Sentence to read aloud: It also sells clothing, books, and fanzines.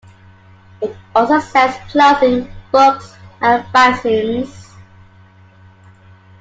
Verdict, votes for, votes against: accepted, 2, 1